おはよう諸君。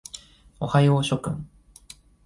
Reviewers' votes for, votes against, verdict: 2, 0, accepted